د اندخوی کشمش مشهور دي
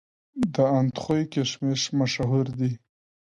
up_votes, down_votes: 2, 0